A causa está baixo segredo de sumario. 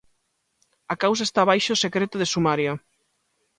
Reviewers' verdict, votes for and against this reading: rejected, 0, 2